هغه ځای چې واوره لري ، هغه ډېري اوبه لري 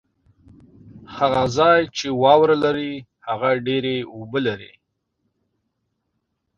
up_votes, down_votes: 2, 0